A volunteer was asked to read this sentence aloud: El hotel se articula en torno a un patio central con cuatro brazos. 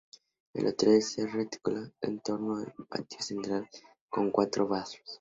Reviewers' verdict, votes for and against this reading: rejected, 0, 2